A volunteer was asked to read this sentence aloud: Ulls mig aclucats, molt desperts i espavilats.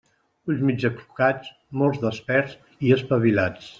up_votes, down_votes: 1, 2